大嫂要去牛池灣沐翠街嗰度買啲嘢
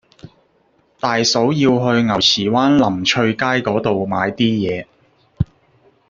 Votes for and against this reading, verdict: 1, 2, rejected